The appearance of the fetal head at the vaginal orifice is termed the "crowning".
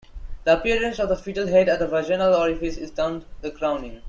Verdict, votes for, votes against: accepted, 2, 1